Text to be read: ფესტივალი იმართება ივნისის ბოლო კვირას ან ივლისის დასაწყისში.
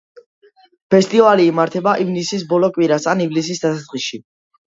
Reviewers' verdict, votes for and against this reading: accepted, 2, 0